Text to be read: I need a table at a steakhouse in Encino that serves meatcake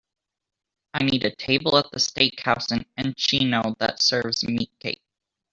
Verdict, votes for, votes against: rejected, 1, 2